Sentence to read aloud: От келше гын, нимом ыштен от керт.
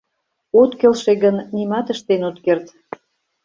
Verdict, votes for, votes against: rejected, 0, 2